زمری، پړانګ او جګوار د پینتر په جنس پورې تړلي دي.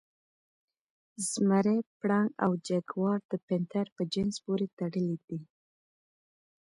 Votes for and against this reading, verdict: 2, 0, accepted